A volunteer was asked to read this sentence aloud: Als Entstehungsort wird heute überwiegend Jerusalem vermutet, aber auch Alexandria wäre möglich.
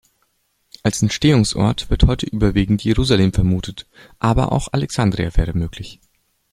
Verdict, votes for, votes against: accepted, 2, 0